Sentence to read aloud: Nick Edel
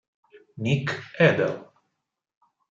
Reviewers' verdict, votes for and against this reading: accepted, 6, 0